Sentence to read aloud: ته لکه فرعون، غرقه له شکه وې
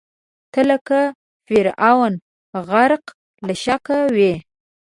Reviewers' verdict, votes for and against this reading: accepted, 2, 0